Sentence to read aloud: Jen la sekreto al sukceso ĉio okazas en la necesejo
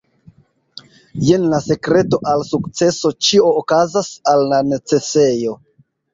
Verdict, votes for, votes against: rejected, 1, 2